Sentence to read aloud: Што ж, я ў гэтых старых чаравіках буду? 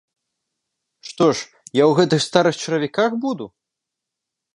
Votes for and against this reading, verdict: 3, 0, accepted